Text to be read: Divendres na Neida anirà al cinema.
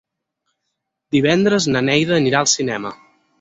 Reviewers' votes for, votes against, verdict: 6, 0, accepted